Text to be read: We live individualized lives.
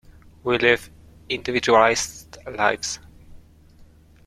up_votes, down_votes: 2, 1